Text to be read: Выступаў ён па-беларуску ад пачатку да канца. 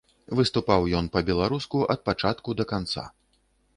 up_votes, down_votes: 2, 0